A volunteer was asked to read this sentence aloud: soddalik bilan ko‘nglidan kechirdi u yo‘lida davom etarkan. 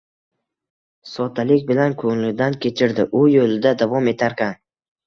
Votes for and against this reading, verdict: 2, 1, accepted